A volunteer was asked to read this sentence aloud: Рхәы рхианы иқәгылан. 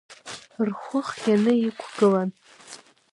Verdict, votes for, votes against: rejected, 0, 2